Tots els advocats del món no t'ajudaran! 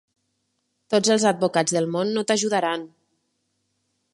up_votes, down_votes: 3, 0